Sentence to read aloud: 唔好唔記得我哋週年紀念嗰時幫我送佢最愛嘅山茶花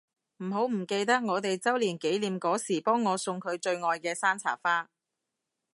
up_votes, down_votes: 3, 0